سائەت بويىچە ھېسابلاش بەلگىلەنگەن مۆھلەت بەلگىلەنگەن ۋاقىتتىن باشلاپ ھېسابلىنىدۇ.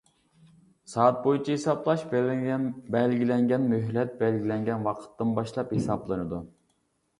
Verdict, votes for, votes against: rejected, 1, 2